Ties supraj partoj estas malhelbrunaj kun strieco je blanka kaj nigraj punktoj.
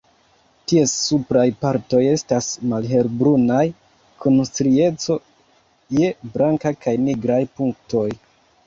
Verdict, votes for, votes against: rejected, 1, 2